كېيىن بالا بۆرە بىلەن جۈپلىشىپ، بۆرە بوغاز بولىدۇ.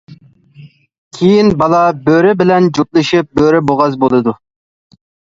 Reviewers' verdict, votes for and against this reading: accepted, 2, 0